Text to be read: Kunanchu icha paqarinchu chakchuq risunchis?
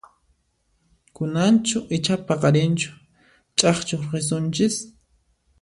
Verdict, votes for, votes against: accepted, 2, 0